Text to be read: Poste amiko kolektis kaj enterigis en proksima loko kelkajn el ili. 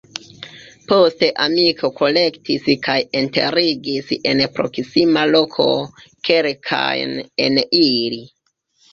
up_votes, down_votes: 1, 3